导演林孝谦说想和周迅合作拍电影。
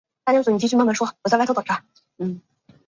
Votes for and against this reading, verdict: 1, 2, rejected